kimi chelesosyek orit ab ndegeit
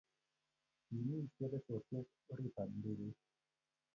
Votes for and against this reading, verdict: 1, 2, rejected